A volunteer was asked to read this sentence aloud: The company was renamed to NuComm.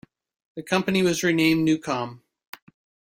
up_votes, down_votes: 0, 2